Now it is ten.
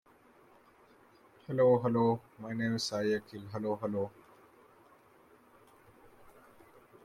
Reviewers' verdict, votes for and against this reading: rejected, 0, 2